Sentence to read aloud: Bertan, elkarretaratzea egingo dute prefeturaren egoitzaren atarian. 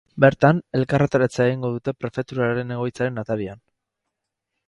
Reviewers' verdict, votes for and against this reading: rejected, 2, 2